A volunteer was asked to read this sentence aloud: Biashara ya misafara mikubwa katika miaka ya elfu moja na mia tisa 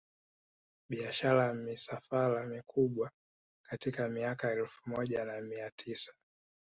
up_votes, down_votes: 2, 1